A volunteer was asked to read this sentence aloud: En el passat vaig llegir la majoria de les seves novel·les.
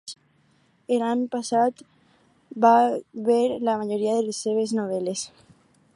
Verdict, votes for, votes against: rejected, 0, 4